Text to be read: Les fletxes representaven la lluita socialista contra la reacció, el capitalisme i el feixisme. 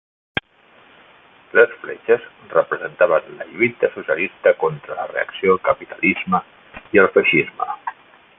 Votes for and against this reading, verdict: 2, 1, accepted